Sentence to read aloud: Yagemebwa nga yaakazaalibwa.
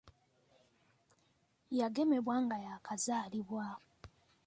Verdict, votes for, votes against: accepted, 3, 1